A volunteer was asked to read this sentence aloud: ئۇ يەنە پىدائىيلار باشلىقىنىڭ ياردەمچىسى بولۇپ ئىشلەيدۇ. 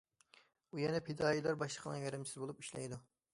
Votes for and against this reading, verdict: 1, 2, rejected